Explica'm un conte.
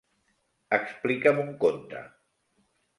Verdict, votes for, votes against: accepted, 3, 0